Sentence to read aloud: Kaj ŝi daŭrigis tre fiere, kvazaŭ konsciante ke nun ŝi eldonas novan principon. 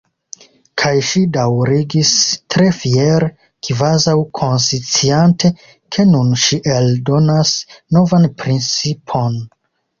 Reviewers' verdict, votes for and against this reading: rejected, 0, 2